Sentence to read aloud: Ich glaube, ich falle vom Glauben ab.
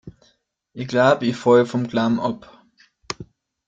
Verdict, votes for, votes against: rejected, 0, 2